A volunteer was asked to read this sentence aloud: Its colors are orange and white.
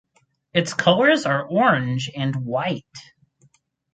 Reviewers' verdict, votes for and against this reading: rejected, 2, 2